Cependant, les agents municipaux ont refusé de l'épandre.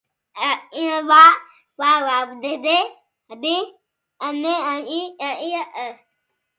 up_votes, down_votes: 0, 2